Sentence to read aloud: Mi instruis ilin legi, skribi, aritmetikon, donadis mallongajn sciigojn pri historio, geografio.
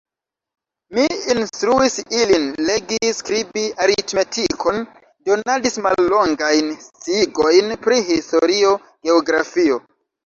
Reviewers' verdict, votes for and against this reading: rejected, 1, 2